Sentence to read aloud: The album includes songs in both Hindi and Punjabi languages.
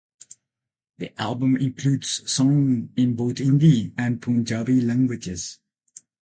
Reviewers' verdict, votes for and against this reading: rejected, 0, 8